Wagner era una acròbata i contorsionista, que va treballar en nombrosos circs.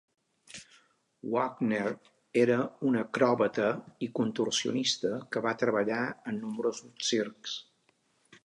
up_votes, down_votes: 2, 0